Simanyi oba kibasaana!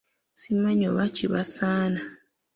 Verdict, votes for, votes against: rejected, 0, 2